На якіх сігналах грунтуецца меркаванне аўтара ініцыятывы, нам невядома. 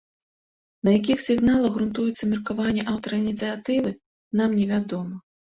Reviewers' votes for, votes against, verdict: 2, 0, accepted